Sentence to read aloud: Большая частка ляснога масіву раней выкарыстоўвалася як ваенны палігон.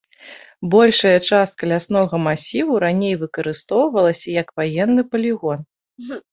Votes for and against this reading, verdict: 1, 2, rejected